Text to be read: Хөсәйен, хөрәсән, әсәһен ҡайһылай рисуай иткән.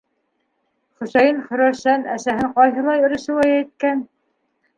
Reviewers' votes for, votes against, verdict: 2, 1, accepted